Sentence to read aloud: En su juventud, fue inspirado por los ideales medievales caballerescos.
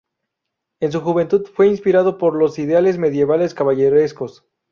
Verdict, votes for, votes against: accepted, 2, 0